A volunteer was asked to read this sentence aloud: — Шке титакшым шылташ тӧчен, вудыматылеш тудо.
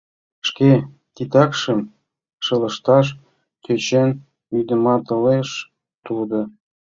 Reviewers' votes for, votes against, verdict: 0, 2, rejected